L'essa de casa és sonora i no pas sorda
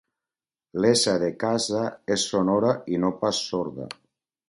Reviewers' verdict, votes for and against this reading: accepted, 2, 0